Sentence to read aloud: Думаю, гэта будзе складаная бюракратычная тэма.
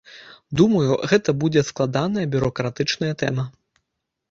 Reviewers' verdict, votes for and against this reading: accepted, 2, 0